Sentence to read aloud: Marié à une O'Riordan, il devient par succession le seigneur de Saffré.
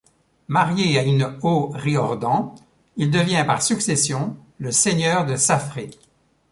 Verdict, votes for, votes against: rejected, 1, 2